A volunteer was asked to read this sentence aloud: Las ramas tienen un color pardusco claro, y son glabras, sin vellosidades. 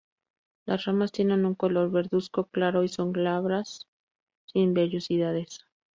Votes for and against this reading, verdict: 0, 4, rejected